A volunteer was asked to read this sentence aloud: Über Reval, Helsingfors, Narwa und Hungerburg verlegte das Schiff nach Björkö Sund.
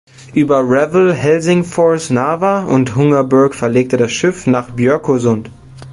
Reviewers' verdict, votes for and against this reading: rejected, 0, 2